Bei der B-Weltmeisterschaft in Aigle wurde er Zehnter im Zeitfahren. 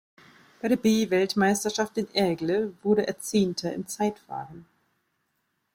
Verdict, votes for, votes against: accepted, 2, 0